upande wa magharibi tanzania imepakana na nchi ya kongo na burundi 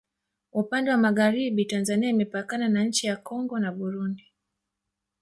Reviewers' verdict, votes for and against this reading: rejected, 1, 2